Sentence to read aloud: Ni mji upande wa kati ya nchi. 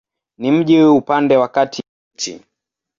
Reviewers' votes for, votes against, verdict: 0, 2, rejected